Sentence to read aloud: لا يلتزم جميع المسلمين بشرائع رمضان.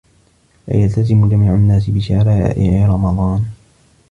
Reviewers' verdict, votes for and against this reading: rejected, 1, 2